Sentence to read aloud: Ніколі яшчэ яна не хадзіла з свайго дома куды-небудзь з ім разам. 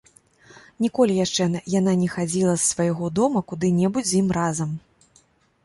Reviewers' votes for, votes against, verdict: 0, 2, rejected